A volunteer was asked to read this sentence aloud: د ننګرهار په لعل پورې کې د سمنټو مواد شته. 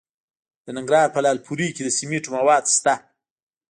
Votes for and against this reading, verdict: 1, 2, rejected